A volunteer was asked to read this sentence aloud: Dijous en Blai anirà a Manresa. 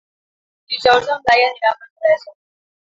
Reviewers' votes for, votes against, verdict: 1, 2, rejected